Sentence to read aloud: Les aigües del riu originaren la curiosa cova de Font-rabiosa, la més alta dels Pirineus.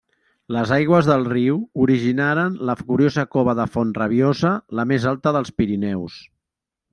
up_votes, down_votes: 1, 2